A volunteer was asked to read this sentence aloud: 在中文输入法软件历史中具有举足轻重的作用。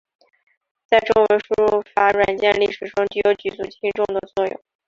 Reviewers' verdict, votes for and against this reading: rejected, 1, 2